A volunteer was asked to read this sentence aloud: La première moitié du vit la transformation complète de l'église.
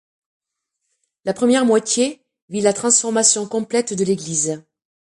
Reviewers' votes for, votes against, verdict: 0, 2, rejected